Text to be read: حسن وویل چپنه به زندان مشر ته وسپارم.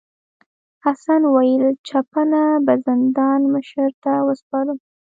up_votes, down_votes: 3, 0